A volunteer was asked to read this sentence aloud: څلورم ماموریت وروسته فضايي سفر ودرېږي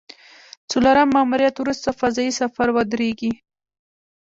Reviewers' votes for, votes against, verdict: 1, 2, rejected